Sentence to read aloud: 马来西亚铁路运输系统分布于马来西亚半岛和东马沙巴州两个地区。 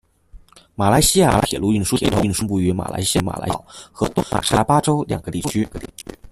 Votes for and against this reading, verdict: 1, 2, rejected